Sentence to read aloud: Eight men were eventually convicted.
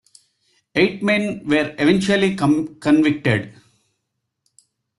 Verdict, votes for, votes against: rejected, 0, 2